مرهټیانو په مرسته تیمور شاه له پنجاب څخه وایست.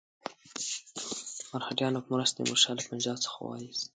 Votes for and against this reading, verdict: 2, 0, accepted